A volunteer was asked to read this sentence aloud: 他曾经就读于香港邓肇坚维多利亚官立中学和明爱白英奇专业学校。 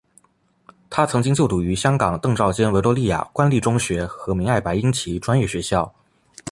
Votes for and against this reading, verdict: 3, 0, accepted